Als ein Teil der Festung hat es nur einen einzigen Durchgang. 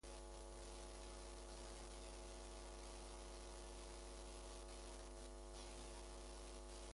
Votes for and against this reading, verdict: 0, 2, rejected